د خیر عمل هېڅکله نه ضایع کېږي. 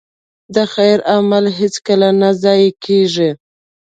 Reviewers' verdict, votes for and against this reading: accepted, 2, 0